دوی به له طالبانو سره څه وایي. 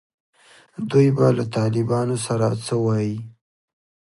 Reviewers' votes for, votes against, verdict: 2, 1, accepted